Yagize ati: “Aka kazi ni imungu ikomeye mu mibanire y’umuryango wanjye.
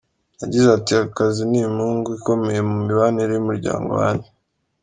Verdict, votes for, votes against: accepted, 2, 0